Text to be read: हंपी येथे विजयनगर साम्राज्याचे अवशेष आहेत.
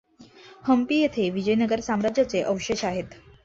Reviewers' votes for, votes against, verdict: 2, 0, accepted